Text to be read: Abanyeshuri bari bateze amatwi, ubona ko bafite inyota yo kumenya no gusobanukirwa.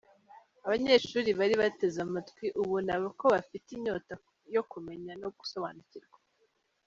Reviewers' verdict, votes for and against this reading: accepted, 3, 0